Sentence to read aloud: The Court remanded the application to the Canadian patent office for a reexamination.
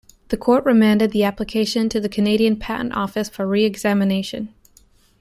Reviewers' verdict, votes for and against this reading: rejected, 0, 2